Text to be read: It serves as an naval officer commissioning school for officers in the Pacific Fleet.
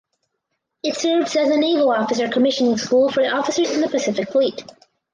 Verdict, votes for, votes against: accepted, 4, 2